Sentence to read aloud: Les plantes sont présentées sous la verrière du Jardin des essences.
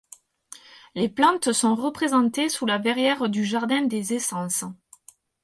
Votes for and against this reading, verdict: 0, 4, rejected